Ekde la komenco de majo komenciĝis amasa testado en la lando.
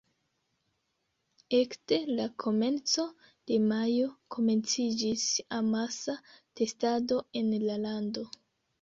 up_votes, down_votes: 1, 3